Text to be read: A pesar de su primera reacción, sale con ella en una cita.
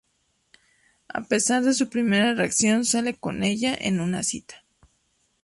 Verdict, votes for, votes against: rejected, 0, 2